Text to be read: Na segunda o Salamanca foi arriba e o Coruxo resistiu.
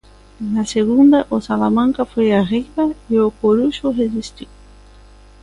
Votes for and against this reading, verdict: 2, 0, accepted